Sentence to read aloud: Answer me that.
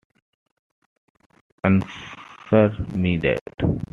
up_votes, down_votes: 2, 1